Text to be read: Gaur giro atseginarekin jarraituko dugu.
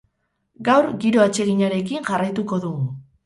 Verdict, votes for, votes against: rejected, 2, 2